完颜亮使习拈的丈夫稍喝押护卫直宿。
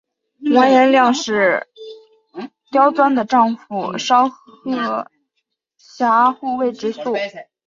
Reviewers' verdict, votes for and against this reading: accepted, 3, 1